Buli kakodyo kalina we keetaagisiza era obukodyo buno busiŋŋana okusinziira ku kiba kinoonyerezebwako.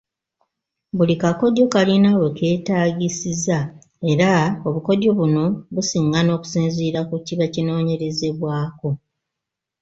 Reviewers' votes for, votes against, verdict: 2, 0, accepted